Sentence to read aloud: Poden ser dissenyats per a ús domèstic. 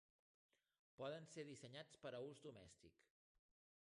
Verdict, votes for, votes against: rejected, 0, 2